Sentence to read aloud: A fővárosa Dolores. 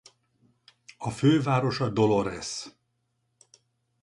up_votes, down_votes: 4, 0